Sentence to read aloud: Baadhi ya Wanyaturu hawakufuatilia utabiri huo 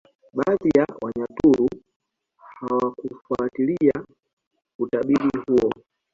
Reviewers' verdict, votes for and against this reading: rejected, 1, 2